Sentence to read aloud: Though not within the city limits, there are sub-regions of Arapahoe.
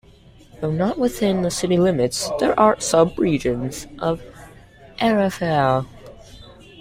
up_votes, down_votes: 0, 2